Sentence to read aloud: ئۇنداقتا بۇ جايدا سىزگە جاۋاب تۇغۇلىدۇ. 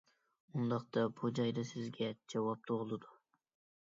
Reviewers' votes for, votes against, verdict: 2, 0, accepted